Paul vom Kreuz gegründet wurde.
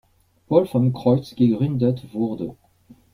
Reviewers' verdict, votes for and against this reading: accepted, 2, 0